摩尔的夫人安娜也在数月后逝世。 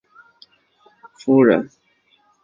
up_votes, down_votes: 2, 3